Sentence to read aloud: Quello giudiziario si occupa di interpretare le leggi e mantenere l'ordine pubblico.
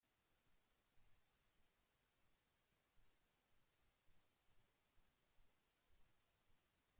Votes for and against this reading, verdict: 1, 2, rejected